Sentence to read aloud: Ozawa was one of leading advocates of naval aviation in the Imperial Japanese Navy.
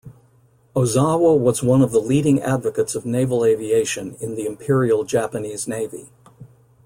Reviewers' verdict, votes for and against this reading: rejected, 0, 2